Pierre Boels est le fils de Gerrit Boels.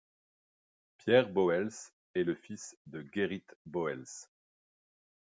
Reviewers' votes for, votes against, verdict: 2, 0, accepted